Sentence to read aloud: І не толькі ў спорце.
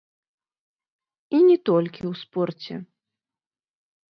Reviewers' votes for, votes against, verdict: 1, 2, rejected